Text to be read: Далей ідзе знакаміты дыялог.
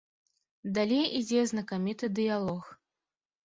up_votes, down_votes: 2, 0